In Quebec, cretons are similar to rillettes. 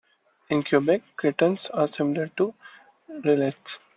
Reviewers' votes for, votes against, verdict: 2, 0, accepted